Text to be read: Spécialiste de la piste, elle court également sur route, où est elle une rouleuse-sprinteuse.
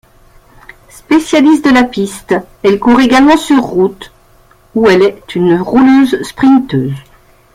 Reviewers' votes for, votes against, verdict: 2, 1, accepted